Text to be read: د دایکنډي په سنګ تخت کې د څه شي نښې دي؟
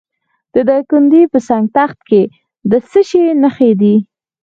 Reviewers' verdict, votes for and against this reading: rejected, 2, 4